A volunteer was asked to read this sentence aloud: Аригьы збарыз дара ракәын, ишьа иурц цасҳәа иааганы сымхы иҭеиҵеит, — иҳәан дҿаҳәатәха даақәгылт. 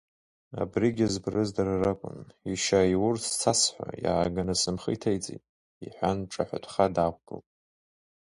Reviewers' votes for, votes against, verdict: 1, 2, rejected